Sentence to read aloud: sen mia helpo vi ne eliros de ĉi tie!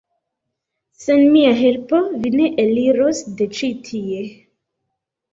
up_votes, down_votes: 2, 0